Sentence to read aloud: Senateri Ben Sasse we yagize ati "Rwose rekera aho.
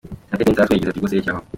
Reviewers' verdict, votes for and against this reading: rejected, 0, 2